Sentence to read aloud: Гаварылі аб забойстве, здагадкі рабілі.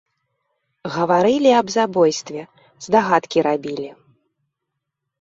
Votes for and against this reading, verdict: 2, 0, accepted